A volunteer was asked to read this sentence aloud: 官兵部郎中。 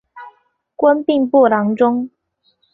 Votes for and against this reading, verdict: 4, 0, accepted